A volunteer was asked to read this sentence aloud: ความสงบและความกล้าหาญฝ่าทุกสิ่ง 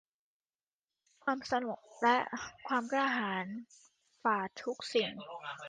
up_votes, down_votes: 2, 1